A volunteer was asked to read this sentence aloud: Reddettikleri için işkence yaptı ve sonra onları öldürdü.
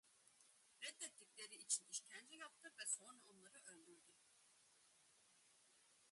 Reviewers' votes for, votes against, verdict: 1, 2, rejected